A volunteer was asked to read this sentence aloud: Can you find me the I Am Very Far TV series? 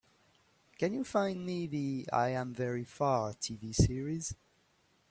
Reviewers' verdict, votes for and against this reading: accepted, 3, 0